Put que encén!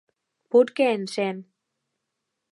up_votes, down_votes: 2, 0